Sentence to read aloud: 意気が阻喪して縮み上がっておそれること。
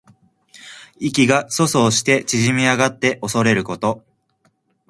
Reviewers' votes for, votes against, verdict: 2, 0, accepted